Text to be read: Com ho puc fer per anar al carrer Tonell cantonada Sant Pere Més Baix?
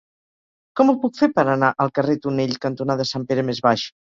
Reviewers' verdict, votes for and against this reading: accepted, 4, 0